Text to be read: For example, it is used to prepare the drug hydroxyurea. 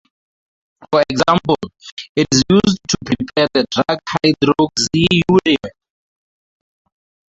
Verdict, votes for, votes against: rejected, 0, 4